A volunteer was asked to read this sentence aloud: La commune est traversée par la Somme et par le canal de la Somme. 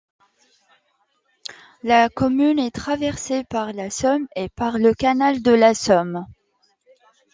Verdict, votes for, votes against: accepted, 2, 0